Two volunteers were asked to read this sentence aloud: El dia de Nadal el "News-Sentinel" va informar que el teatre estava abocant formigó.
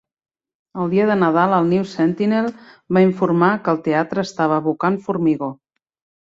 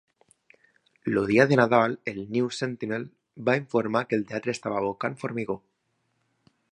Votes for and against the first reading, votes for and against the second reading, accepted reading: 2, 0, 1, 2, first